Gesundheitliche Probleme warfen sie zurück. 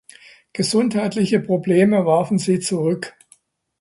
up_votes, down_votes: 2, 0